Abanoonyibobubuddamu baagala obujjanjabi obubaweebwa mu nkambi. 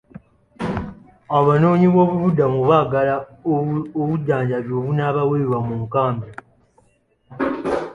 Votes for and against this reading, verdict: 0, 2, rejected